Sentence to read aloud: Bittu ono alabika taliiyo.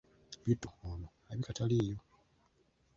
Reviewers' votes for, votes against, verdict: 2, 1, accepted